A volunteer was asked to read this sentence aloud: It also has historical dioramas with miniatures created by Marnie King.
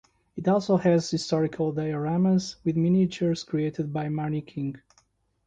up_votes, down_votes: 2, 0